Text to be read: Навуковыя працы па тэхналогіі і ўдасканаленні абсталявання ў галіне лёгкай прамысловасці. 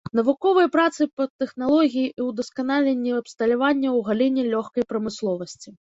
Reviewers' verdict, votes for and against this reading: rejected, 0, 2